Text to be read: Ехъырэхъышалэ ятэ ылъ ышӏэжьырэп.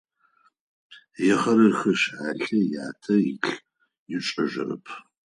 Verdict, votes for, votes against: accepted, 4, 0